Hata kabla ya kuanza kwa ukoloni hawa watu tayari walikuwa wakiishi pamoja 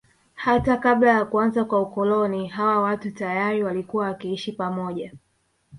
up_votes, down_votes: 2, 1